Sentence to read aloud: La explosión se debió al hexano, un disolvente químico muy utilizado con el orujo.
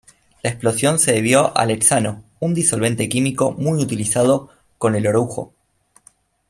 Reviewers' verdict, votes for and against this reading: rejected, 0, 2